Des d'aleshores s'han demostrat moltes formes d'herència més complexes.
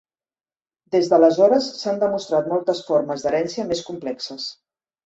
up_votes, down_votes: 2, 0